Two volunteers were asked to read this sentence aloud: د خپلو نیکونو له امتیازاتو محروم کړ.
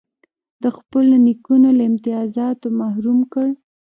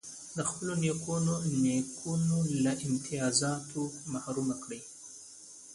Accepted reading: second